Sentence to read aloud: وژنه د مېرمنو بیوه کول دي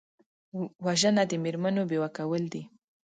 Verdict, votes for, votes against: accepted, 2, 0